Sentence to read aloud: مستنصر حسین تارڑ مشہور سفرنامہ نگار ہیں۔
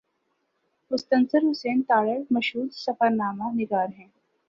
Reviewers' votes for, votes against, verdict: 2, 0, accepted